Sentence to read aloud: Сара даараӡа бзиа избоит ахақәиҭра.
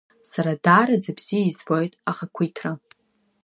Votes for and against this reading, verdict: 2, 0, accepted